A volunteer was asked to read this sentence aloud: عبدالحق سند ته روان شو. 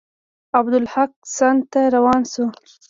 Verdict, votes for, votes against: accepted, 2, 1